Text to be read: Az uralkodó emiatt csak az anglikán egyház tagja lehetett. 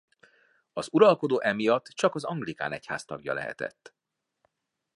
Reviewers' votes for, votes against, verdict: 2, 0, accepted